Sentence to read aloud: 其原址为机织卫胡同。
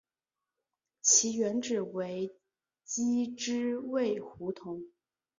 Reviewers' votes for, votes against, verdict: 2, 0, accepted